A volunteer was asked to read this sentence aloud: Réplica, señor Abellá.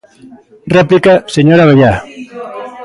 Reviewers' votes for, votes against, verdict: 2, 0, accepted